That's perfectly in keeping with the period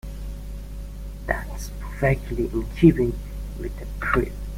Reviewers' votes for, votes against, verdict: 1, 2, rejected